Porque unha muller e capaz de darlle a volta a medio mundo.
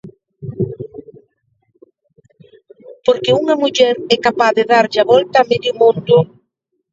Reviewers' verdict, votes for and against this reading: accepted, 2, 0